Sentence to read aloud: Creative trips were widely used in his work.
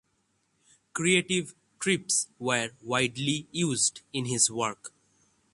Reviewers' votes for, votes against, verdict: 6, 0, accepted